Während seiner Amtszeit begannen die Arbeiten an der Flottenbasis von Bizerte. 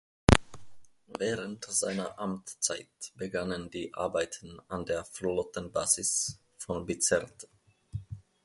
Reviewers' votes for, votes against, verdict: 2, 0, accepted